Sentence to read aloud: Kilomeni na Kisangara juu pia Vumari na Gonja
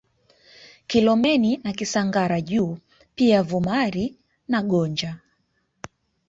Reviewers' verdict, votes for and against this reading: accepted, 2, 0